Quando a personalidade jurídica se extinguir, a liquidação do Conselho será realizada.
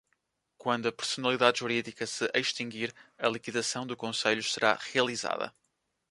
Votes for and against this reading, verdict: 3, 0, accepted